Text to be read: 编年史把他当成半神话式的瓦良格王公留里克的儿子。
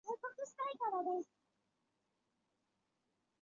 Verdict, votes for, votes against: accepted, 3, 1